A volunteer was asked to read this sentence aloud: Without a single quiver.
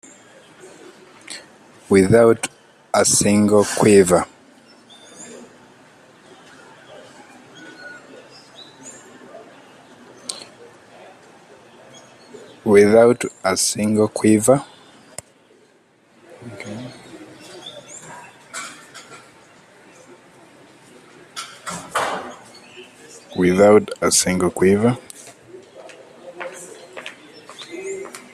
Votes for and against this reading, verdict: 2, 3, rejected